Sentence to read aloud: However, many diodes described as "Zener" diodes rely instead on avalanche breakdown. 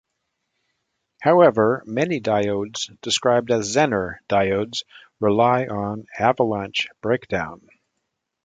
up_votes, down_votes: 1, 2